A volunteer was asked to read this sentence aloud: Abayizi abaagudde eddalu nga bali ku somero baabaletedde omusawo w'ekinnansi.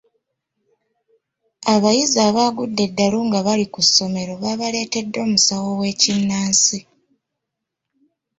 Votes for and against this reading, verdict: 2, 0, accepted